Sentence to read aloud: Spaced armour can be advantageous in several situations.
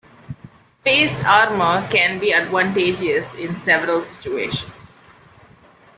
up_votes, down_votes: 1, 2